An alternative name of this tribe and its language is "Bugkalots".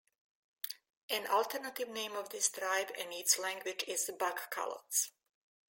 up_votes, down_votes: 2, 0